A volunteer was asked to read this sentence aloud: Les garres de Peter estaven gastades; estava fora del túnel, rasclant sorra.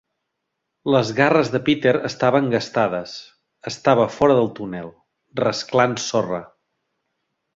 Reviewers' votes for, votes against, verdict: 3, 0, accepted